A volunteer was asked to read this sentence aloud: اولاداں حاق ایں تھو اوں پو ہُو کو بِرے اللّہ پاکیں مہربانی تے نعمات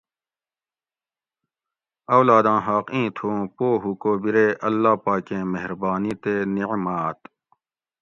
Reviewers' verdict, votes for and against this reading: accepted, 2, 0